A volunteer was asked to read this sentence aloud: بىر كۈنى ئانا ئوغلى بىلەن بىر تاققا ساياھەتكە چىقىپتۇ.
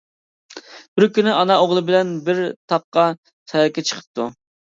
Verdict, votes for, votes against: rejected, 0, 2